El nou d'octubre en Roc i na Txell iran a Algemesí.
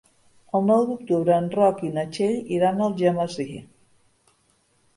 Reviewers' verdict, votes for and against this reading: accepted, 3, 0